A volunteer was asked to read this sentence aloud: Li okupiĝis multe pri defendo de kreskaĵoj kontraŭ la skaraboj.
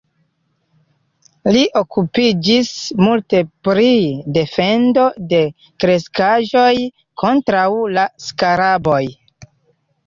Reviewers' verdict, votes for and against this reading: accepted, 2, 1